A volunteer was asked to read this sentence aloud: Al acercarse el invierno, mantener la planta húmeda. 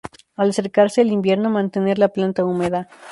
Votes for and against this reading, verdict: 4, 0, accepted